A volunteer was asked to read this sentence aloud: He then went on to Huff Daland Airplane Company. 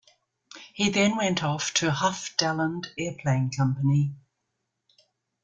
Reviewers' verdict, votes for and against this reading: rejected, 0, 2